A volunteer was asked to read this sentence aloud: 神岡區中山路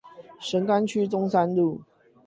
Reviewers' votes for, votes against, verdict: 8, 0, accepted